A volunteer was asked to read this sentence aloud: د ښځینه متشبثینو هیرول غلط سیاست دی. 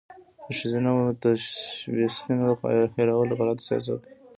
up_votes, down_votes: 0, 2